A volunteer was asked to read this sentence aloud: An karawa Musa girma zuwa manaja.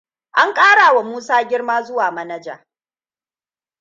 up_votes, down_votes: 2, 1